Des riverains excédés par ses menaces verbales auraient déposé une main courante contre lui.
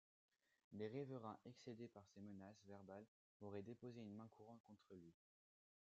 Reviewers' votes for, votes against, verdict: 1, 2, rejected